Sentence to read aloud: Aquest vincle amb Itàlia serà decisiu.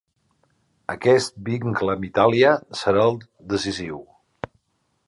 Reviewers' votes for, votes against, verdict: 0, 2, rejected